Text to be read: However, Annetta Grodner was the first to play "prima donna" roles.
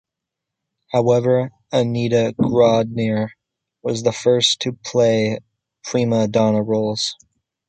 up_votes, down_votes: 2, 0